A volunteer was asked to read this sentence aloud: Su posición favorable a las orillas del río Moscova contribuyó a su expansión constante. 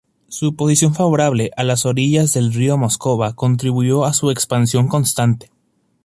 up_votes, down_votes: 2, 0